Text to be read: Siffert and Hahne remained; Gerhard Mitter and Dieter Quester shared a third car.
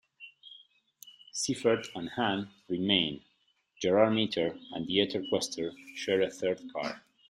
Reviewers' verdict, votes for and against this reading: rejected, 0, 2